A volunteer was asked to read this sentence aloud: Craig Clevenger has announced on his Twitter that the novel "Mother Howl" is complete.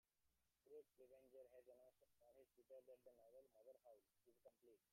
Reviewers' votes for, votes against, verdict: 0, 2, rejected